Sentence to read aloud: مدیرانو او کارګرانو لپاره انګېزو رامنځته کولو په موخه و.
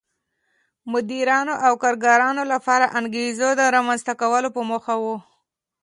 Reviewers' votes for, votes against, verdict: 2, 0, accepted